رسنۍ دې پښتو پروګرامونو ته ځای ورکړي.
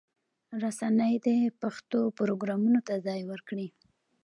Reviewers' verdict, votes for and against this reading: accepted, 2, 0